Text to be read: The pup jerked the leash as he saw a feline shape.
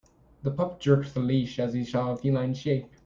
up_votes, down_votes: 1, 2